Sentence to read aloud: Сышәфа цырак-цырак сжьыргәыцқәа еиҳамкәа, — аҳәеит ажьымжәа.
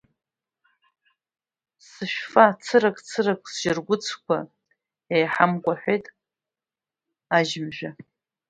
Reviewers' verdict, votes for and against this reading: rejected, 1, 2